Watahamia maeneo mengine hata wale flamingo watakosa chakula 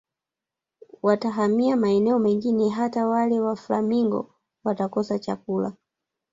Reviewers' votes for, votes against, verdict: 2, 3, rejected